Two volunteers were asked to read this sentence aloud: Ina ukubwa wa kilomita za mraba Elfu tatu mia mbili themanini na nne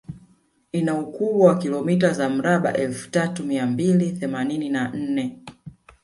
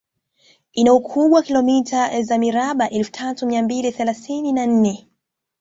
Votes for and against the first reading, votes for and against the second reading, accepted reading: 0, 2, 3, 1, second